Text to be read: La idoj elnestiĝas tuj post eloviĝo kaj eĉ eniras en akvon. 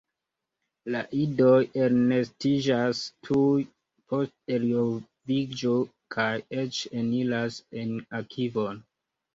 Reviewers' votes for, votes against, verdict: 1, 2, rejected